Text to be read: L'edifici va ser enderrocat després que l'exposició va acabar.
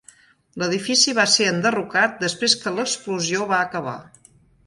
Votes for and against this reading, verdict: 0, 2, rejected